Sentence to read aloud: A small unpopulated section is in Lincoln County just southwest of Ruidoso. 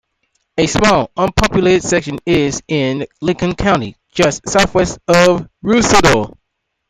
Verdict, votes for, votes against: accepted, 2, 1